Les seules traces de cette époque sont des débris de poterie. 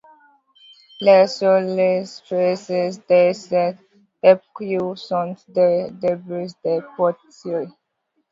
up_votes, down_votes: 0, 2